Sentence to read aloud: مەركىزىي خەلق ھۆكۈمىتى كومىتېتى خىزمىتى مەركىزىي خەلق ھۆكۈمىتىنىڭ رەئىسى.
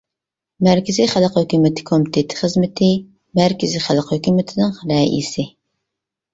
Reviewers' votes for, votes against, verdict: 2, 0, accepted